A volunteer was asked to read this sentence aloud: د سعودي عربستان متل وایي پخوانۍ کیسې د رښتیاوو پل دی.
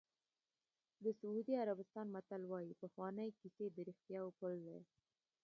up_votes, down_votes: 1, 2